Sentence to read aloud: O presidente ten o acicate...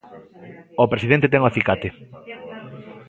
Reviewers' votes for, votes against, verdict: 0, 2, rejected